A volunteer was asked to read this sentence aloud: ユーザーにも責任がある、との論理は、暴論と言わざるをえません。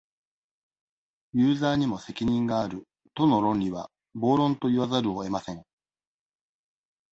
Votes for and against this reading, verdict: 2, 0, accepted